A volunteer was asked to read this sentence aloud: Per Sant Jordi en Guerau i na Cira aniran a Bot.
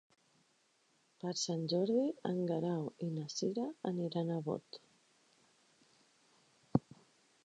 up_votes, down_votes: 6, 0